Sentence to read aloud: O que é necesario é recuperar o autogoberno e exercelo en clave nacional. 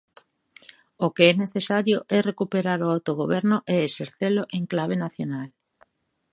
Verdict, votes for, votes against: accepted, 2, 0